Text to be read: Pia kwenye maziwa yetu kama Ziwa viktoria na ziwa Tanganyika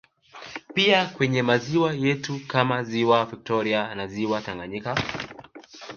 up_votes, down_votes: 2, 1